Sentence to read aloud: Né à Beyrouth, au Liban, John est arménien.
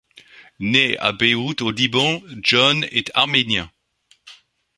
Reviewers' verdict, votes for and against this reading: accepted, 2, 0